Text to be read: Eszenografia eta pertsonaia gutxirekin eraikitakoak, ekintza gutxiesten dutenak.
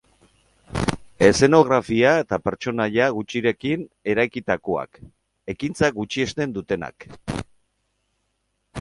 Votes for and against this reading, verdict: 2, 0, accepted